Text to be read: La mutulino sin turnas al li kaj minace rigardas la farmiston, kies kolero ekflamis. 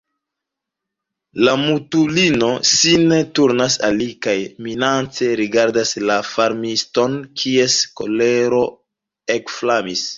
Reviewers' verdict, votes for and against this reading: rejected, 1, 2